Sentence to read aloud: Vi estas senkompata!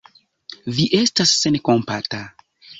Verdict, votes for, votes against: accepted, 2, 0